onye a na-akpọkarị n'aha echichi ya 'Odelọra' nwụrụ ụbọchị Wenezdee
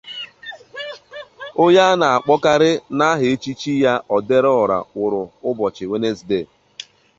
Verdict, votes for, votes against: rejected, 0, 2